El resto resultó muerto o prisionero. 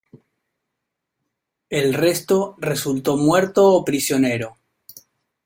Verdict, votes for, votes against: rejected, 1, 2